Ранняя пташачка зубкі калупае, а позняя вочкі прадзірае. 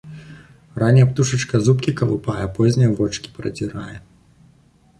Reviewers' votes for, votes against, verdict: 1, 2, rejected